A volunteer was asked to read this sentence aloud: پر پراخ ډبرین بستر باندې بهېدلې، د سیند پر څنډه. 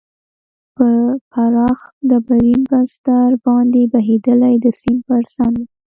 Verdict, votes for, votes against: accepted, 2, 0